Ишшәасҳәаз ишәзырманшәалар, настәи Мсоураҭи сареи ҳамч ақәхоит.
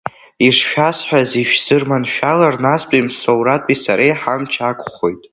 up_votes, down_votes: 2, 1